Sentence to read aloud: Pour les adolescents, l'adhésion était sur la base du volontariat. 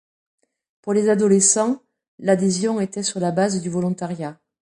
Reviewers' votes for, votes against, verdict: 2, 0, accepted